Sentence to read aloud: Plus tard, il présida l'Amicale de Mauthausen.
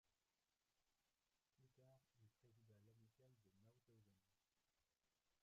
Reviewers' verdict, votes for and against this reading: rejected, 1, 2